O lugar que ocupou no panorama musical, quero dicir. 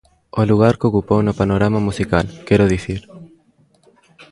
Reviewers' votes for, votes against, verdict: 0, 2, rejected